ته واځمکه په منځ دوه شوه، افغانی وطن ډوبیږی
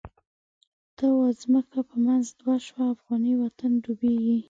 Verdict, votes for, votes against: rejected, 1, 2